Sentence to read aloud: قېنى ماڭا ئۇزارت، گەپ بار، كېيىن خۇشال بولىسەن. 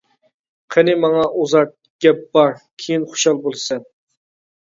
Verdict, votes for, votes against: accepted, 2, 0